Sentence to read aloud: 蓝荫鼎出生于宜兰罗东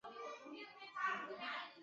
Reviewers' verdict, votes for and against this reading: rejected, 0, 2